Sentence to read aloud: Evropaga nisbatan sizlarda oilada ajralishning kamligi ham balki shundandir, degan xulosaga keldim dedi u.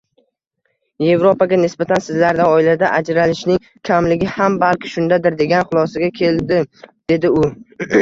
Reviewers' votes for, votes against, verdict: 1, 2, rejected